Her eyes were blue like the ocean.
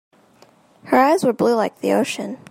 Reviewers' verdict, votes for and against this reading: accepted, 2, 0